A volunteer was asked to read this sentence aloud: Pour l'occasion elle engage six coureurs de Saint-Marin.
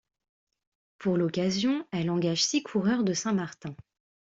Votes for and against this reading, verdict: 0, 2, rejected